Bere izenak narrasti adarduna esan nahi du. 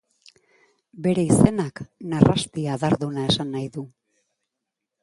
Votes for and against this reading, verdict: 2, 0, accepted